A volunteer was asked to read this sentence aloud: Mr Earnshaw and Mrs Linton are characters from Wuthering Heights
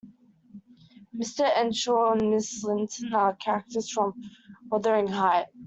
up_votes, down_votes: 1, 2